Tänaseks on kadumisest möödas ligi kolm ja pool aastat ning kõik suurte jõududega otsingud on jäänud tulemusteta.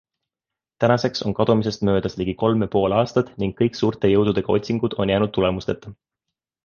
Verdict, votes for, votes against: accepted, 2, 0